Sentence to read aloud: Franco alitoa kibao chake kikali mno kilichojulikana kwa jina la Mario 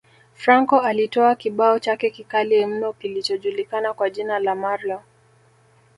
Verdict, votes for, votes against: rejected, 1, 2